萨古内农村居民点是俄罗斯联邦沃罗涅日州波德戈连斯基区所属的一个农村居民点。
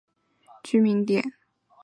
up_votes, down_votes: 0, 2